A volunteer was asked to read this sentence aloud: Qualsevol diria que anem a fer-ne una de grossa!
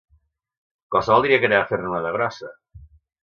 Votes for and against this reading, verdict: 2, 0, accepted